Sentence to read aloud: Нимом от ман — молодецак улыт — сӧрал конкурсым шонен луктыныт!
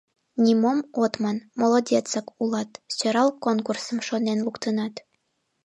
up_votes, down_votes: 1, 2